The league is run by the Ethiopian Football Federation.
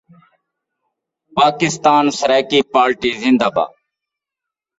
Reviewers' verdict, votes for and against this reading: rejected, 0, 3